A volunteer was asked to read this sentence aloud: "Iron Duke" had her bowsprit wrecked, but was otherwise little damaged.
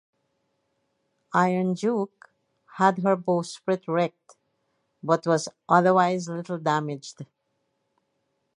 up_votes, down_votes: 2, 2